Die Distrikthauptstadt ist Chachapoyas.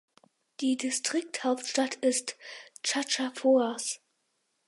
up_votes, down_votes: 2, 4